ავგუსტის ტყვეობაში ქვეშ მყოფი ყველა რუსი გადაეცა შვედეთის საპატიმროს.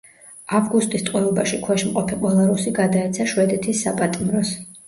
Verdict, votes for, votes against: accepted, 2, 0